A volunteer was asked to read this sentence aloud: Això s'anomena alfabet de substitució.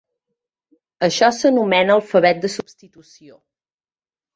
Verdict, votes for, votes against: rejected, 1, 2